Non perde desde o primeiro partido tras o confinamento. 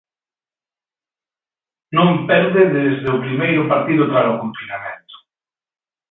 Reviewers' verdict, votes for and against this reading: rejected, 0, 2